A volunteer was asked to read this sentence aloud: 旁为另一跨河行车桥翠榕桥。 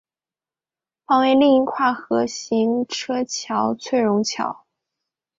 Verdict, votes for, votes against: accepted, 3, 0